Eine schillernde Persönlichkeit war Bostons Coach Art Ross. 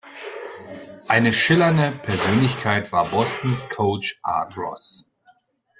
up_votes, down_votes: 2, 0